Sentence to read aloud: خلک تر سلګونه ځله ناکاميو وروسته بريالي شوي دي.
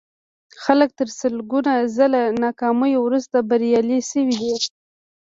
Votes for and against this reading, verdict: 2, 0, accepted